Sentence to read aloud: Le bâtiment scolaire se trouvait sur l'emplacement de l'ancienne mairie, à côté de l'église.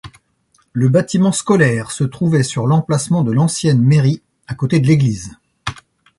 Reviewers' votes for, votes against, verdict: 2, 0, accepted